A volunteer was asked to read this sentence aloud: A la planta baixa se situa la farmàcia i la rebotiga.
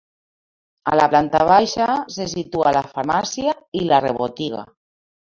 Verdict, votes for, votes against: rejected, 0, 2